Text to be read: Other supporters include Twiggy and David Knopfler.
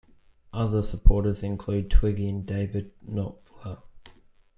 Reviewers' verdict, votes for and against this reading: rejected, 1, 2